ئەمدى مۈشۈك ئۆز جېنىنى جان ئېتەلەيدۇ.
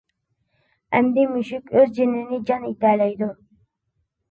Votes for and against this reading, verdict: 2, 1, accepted